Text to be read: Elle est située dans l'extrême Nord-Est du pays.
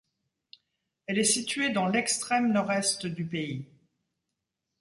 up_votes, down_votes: 2, 0